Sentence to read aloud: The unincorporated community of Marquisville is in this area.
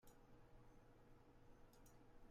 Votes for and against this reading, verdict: 0, 2, rejected